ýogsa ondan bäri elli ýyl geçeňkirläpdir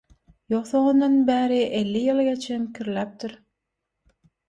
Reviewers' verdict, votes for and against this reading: accepted, 6, 3